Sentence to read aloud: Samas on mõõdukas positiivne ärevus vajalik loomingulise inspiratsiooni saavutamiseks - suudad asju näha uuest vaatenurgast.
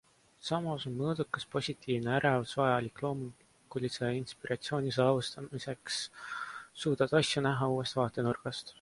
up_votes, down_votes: 2, 0